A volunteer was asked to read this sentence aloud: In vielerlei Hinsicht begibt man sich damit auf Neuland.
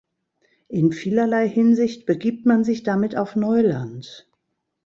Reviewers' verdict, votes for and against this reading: rejected, 0, 2